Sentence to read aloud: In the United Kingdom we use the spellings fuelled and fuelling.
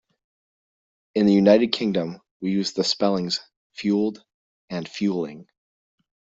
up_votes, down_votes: 2, 0